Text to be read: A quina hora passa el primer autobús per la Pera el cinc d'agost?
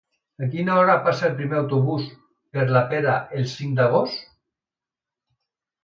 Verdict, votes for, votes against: accepted, 3, 0